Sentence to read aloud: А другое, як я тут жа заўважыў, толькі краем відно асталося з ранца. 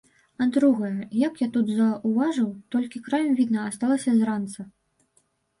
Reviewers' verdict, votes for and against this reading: rejected, 1, 2